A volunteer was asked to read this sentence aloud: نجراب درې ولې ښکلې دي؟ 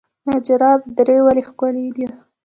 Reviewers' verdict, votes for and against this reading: accepted, 3, 1